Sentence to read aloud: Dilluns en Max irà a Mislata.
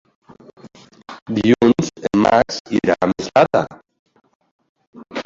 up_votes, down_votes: 0, 2